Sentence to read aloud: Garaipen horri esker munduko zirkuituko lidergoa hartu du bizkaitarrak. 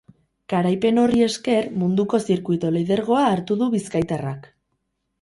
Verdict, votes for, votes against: accepted, 4, 0